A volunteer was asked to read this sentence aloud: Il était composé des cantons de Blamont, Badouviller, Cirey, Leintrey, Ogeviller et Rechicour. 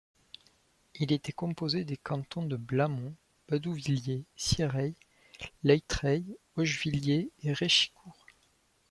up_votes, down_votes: 2, 1